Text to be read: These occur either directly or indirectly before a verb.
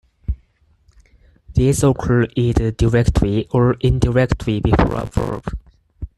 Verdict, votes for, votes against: accepted, 4, 0